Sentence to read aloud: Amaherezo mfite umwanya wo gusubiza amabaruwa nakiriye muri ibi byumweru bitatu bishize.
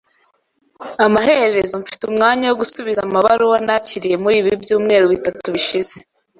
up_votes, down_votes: 1, 2